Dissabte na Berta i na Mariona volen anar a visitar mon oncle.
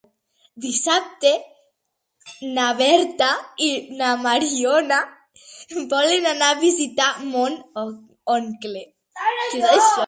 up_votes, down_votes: 0, 2